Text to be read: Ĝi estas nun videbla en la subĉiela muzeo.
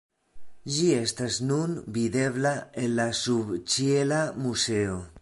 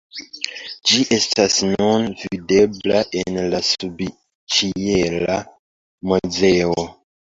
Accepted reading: second